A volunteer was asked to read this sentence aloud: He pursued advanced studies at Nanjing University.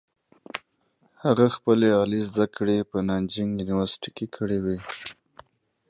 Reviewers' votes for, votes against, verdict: 0, 2, rejected